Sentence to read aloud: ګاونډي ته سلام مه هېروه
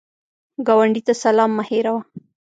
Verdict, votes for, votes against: rejected, 1, 2